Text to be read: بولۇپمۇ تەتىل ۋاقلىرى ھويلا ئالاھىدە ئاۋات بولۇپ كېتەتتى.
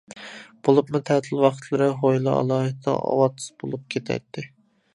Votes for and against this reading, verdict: 0, 2, rejected